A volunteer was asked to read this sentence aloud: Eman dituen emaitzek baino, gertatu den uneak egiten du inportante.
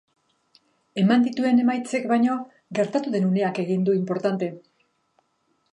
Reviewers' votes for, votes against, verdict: 2, 1, accepted